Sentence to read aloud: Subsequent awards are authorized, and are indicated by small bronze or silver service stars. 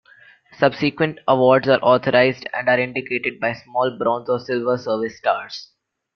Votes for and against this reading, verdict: 2, 1, accepted